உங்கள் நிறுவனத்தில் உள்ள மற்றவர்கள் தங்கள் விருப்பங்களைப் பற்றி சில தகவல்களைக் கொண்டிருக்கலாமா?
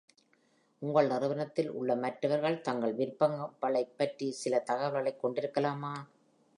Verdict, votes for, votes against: accepted, 2, 1